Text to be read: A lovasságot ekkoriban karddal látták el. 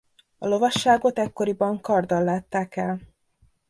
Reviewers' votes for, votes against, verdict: 2, 0, accepted